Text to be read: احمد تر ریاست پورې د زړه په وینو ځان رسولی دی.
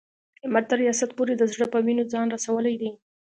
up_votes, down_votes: 2, 0